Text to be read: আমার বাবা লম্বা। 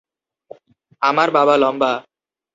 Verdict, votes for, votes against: accepted, 6, 0